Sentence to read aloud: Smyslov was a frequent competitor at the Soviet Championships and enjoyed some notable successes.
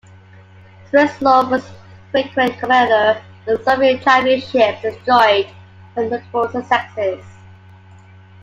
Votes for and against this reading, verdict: 1, 2, rejected